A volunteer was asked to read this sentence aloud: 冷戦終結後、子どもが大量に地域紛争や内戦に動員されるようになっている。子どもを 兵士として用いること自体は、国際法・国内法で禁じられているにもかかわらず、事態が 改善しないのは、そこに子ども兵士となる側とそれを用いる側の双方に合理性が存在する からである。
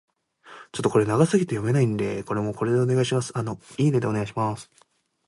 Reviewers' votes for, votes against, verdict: 0, 3, rejected